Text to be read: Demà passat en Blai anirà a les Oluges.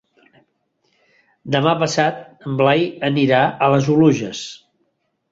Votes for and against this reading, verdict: 3, 0, accepted